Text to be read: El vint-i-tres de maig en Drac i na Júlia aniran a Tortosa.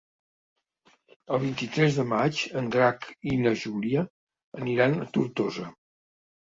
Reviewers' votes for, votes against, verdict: 3, 0, accepted